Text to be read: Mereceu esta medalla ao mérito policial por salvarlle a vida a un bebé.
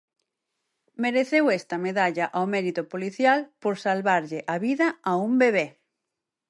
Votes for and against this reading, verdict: 4, 0, accepted